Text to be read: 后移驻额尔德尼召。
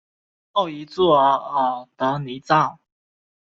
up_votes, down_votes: 2, 1